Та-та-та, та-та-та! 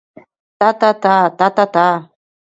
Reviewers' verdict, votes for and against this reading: accepted, 2, 0